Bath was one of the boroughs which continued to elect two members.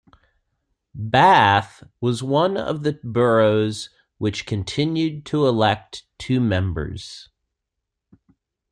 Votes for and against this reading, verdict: 1, 2, rejected